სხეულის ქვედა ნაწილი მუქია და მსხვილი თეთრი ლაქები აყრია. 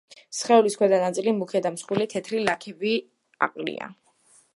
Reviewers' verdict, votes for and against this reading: accepted, 2, 0